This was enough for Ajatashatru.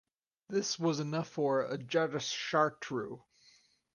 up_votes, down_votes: 4, 0